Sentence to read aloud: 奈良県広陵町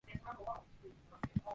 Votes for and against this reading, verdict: 0, 2, rejected